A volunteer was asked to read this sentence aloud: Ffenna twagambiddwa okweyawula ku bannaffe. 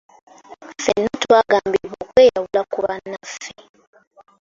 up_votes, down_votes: 0, 2